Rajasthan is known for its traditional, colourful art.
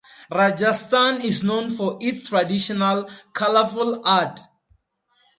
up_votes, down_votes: 4, 0